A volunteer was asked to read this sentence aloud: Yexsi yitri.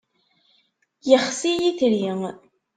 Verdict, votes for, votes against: accepted, 2, 0